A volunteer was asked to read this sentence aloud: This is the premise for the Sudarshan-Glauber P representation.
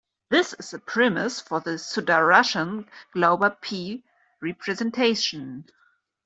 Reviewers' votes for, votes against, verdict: 2, 0, accepted